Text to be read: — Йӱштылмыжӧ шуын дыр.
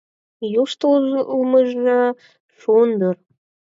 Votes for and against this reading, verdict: 0, 4, rejected